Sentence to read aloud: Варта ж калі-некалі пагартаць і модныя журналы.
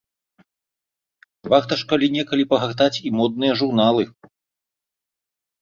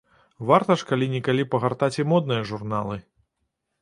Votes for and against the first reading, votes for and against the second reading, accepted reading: 2, 1, 1, 2, first